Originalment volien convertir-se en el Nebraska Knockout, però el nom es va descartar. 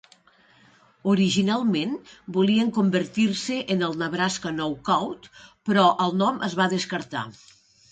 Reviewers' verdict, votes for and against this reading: accepted, 2, 0